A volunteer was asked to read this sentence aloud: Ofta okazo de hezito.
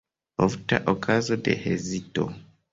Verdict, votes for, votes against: accepted, 2, 0